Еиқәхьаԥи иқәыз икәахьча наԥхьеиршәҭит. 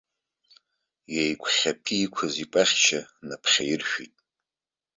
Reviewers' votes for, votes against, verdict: 1, 2, rejected